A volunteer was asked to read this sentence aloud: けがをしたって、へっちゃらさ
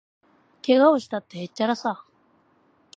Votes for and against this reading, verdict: 2, 0, accepted